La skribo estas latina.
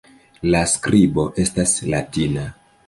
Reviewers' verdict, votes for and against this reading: rejected, 1, 2